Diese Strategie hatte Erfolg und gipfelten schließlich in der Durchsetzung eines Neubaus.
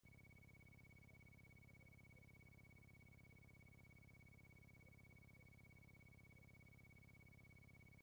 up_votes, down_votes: 0, 2